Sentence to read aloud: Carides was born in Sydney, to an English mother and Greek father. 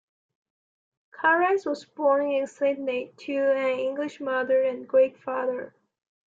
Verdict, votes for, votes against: accepted, 2, 0